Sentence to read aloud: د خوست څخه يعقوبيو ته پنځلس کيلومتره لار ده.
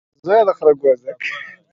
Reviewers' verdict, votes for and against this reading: rejected, 0, 2